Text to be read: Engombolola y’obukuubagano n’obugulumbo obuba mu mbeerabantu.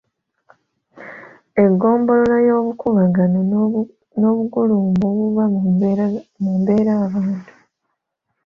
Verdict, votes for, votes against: accepted, 2, 0